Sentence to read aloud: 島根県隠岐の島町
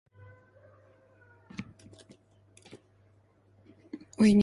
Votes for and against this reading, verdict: 1, 3, rejected